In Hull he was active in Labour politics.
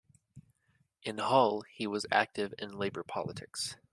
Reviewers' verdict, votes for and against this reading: accepted, 2, 0